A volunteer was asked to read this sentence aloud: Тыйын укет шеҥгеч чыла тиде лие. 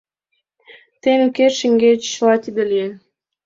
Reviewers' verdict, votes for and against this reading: accepted, 2, 0